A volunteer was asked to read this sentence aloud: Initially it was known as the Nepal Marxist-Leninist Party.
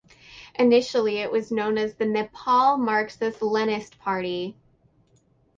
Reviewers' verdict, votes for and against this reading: rejected, 4, 8